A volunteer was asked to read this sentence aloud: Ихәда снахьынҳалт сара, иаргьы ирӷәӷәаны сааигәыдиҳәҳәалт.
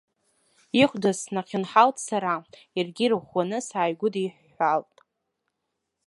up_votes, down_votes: 3, 0